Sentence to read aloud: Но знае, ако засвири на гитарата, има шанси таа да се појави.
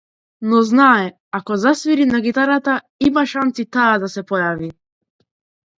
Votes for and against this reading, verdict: 2, 0, accepted